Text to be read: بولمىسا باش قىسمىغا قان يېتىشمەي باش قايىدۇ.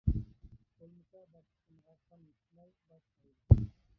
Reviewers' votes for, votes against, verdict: 0, 2, rejected